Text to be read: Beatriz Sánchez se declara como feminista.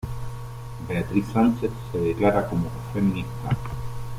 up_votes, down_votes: 2, 0